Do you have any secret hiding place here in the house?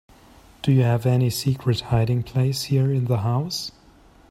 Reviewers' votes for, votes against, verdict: 3, 0, accepted